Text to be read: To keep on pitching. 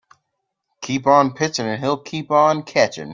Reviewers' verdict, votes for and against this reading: rejected, 0, 2